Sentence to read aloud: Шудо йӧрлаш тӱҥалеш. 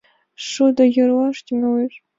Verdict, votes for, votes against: accepted, 2, 0